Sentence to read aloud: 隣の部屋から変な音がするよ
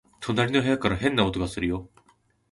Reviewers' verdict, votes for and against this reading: accepted, 2, 0